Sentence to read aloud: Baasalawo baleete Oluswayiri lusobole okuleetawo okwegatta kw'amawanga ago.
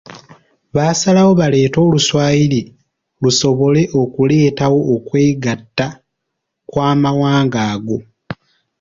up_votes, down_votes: 2, 0